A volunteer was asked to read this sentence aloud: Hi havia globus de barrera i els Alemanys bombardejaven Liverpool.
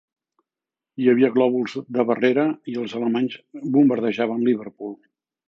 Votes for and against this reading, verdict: 1, 2, rejected